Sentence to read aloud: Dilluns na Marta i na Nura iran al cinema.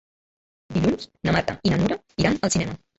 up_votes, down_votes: 1, 2